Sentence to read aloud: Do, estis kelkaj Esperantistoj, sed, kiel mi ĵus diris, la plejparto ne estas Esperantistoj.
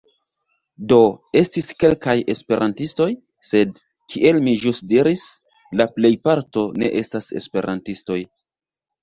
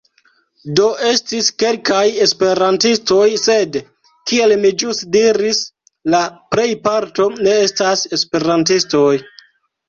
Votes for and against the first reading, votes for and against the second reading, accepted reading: 2, 1, 1, 2, first